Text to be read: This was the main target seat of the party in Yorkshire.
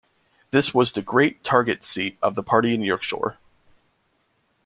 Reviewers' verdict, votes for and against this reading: rejected, 0, 2